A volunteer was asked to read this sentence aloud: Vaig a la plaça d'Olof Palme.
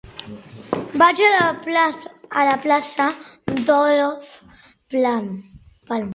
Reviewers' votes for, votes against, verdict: 0, 4, rejected